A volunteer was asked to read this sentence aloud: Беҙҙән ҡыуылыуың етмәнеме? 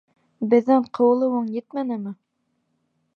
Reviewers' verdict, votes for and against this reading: accepted, 2, 0